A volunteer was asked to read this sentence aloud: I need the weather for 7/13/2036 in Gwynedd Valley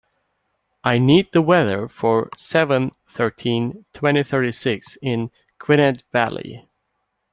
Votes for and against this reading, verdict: 0, 2, rejected